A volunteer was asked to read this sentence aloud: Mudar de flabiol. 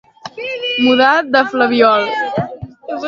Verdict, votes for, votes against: rejected, 1, 2